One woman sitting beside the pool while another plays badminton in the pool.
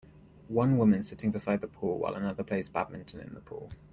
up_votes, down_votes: 1, 2